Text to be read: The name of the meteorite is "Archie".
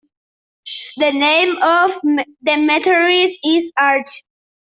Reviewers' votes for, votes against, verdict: 0, 2, rejected